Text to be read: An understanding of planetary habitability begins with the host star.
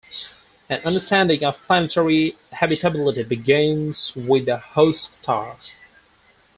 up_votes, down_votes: 2, 4